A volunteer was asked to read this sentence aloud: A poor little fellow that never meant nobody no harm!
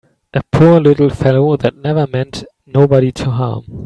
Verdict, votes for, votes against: rejected, 0, 3